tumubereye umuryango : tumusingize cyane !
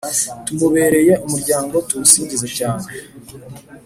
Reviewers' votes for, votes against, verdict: 3, 0, accepted